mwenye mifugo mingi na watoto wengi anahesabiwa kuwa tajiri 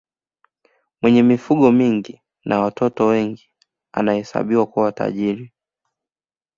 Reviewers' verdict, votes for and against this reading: accepted, 2, 0